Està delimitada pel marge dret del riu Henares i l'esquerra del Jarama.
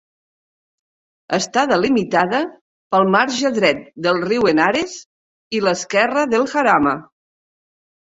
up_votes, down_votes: 2, 0